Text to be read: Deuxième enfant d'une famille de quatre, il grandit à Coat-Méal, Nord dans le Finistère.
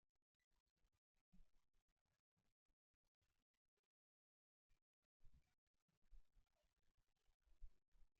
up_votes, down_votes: 0, 2